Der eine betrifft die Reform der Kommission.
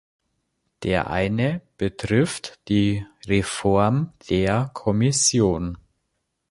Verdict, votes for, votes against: accepted, 2, 0